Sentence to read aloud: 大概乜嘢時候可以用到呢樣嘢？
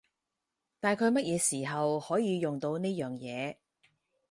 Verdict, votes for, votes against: accepted, 4, 0